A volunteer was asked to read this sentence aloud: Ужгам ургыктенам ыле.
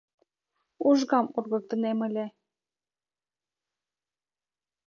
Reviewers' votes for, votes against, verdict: 0, 2, rejected